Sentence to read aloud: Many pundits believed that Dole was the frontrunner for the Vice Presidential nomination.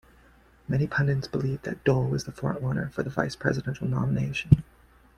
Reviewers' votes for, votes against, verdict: 2, 0, accepted